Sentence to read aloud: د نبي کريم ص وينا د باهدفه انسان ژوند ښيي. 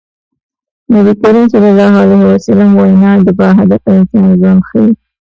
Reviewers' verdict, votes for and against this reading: rejected, 1, 2